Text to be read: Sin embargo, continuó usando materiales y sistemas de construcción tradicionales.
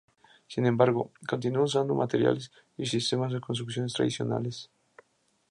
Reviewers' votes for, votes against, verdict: 2, 0, accepted